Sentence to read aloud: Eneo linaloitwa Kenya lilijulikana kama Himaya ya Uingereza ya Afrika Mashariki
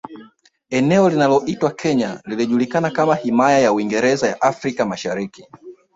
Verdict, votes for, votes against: rejected, 0, 2